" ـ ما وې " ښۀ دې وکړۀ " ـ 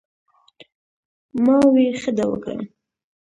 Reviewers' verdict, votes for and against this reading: accepted, 2, 0